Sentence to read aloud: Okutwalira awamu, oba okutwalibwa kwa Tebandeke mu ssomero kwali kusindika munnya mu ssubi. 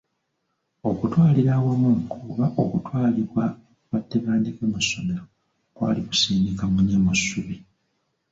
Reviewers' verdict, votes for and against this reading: rejected, 0, 2